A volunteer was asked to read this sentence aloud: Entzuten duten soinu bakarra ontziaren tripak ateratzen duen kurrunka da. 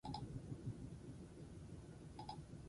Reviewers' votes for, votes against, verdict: 0, 4, rejected